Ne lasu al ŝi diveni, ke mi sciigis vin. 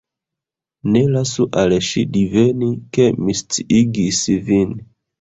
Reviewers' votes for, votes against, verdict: 1, 2, rejected